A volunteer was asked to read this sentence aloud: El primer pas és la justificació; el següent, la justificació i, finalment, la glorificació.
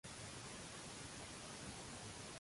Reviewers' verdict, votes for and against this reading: rejected, 0, 2